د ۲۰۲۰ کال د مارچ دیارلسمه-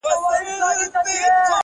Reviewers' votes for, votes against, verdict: 0, 2, rejected